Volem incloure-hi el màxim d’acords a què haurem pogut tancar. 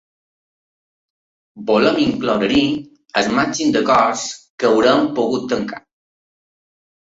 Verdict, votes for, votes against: accepted, 2, 1